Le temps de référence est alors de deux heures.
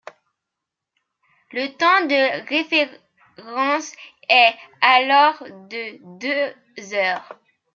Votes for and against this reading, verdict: 0, 2, rejected